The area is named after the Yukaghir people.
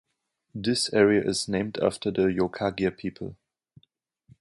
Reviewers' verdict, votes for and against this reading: rejected, 1, 2